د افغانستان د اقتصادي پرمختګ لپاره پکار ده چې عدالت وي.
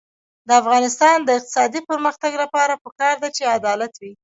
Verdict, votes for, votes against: rejected, 0, 2